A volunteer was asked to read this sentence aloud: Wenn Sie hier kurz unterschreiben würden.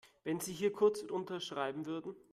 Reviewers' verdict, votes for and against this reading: accepted, 2, 0